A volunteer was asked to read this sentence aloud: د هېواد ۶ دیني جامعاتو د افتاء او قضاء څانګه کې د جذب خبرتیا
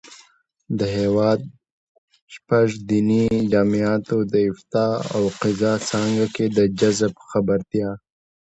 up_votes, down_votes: 0, 2